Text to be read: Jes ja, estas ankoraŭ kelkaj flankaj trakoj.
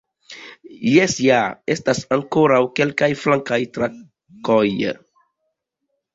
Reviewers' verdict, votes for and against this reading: rejected, 0, 2